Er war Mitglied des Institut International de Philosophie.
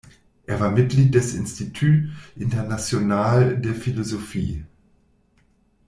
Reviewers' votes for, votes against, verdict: 1, 2, rejected